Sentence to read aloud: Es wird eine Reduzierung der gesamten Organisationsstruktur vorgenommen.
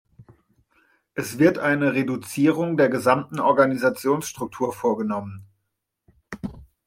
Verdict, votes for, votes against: accepted, 2, 0